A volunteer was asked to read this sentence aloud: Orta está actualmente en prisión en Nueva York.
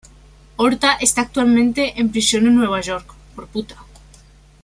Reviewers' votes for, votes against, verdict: 1, 2, rejected